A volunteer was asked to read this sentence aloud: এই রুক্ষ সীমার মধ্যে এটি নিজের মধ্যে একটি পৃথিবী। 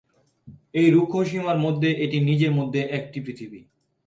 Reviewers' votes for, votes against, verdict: 3, 2, accepted